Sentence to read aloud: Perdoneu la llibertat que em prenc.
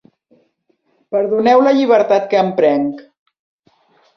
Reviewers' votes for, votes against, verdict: 3, 0, accepted